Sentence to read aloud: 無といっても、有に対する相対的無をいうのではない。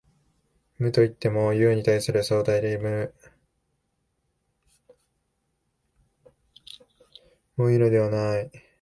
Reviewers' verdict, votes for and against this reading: rejected, 2, 12